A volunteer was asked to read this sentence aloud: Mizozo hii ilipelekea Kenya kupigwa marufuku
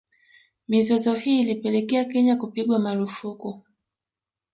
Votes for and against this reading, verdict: 2, 0, accepted